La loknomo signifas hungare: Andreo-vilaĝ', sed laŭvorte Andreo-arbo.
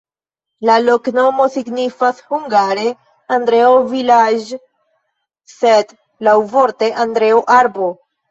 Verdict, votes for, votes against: rejected, 1, 2